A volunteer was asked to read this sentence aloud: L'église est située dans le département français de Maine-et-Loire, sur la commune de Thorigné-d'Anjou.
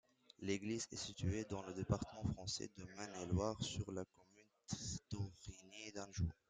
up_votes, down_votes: 0, 2